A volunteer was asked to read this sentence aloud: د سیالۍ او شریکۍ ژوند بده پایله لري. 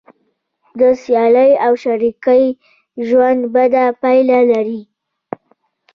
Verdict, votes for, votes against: rejected, 0, 2